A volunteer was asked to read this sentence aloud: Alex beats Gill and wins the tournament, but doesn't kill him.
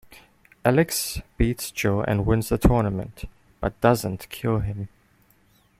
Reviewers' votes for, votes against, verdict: 1, 2, rejected